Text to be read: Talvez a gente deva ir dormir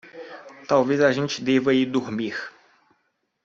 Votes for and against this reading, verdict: 2, 0, accepted